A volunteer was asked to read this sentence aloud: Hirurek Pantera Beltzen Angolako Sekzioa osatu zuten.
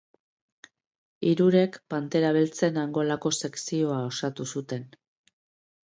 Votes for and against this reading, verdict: 2, 0, accepted